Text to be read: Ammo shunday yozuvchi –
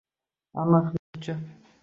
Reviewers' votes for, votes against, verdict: 0, 2, rejected